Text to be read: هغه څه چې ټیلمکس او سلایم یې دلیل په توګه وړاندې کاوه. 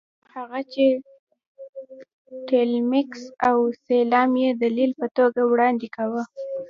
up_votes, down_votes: 1, 2